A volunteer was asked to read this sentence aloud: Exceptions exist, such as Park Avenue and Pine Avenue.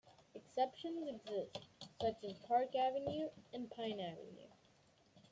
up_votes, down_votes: 2, 1